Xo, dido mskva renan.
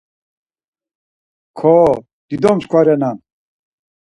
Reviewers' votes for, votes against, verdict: 2, 4, rejected